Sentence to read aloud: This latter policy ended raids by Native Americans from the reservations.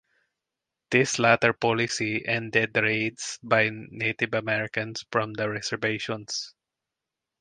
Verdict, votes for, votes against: rejected, 2, 2